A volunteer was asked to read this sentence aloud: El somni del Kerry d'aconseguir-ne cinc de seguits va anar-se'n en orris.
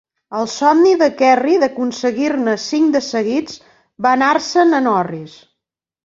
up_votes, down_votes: 1, 2